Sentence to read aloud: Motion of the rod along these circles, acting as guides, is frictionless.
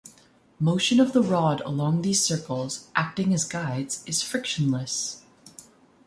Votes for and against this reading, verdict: 3, 0, accepted